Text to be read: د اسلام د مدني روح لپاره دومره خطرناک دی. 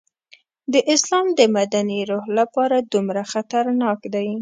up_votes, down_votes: 0, 2